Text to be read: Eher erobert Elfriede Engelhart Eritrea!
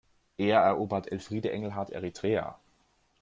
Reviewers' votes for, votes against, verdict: 2, 0, accepted